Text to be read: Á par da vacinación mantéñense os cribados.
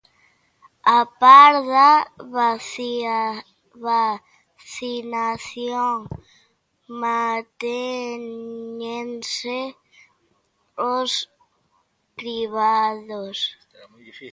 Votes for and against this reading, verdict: 0, 2, rejected